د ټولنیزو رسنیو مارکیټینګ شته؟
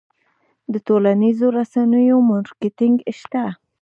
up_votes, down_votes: 2, 0